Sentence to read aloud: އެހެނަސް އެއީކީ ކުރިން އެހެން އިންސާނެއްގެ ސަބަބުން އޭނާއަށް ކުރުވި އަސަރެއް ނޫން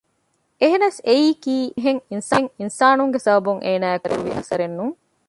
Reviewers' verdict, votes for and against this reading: rejected, 0, 2